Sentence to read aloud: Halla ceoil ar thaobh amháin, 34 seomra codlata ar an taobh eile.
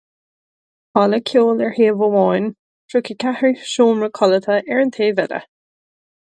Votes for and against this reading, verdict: 0, 2, rejected